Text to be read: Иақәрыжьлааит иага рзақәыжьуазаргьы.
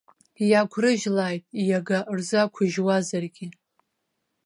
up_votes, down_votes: 2, 1